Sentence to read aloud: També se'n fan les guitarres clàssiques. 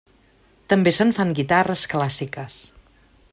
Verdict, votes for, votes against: rejected, 0, 2